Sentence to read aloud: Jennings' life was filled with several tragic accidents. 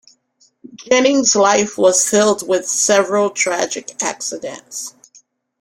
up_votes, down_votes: 3, 1